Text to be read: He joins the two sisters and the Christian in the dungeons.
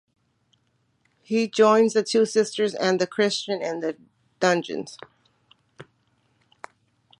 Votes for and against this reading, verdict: 2, 0, accepted